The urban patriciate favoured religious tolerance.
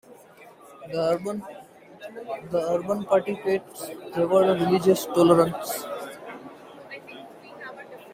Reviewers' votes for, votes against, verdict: 1, 2, rejected